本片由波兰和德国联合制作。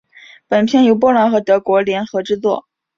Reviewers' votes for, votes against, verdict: 4, 0, accepted